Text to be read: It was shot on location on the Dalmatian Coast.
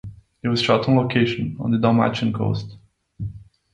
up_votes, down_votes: 2, 0